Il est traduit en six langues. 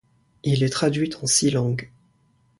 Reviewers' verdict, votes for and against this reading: accepted, 2, 0